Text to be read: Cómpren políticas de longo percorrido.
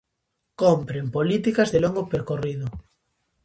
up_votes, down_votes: 2, 0